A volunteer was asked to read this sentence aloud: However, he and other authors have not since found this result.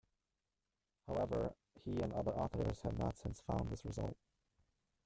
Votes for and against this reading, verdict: 0, 2, rejected